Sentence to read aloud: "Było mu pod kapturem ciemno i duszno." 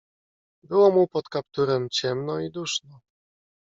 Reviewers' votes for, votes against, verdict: 2, 0, accepted